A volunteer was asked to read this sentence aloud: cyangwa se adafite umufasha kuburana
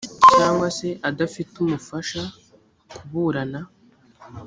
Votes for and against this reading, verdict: 2, 0, accepted